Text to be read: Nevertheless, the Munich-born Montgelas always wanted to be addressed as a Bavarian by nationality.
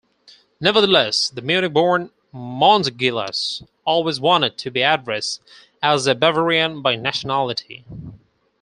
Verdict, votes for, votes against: accepted, 4, 2